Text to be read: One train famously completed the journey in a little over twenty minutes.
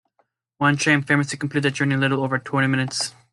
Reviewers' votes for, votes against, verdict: 1, 2, rejected